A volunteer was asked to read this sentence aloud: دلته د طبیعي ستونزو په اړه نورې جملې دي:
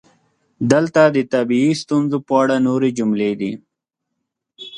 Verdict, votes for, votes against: accepted, 2, 1